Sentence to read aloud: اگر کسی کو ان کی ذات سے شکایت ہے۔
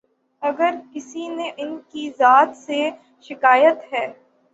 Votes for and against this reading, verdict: 0, 6, rejected